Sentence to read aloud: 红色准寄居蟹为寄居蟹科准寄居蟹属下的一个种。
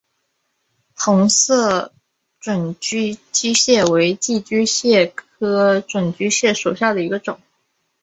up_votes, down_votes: 1, 2